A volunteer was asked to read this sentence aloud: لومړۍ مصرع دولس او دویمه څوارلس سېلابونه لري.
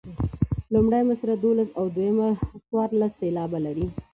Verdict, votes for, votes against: accepted, 2, 1